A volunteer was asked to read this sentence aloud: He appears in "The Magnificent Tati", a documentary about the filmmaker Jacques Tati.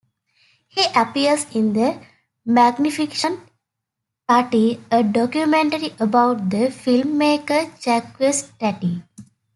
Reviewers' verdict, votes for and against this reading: rejected, 1, 2